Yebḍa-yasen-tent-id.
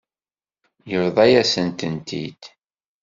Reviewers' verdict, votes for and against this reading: rejected, 1, 2